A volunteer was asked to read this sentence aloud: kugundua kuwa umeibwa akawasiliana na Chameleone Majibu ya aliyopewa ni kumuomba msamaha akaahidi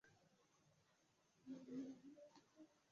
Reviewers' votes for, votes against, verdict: 0, 2, rejected